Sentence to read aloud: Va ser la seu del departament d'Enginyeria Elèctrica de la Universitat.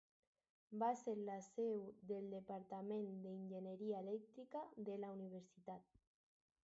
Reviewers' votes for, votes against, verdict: 2, 2, rejected